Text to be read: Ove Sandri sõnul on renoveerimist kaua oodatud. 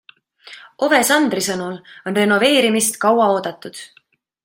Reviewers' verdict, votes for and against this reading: accepted, 2, 0